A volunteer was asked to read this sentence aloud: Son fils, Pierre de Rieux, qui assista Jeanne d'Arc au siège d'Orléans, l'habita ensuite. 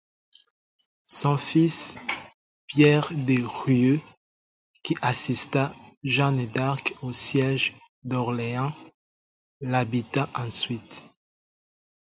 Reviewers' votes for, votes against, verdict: 0, 4, rejected